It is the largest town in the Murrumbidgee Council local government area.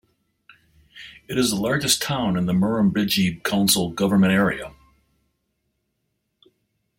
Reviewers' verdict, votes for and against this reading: rejected, 0, 2